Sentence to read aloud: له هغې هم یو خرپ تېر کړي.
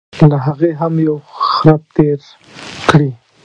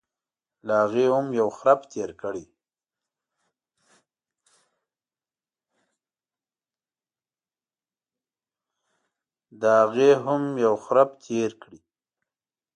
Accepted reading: first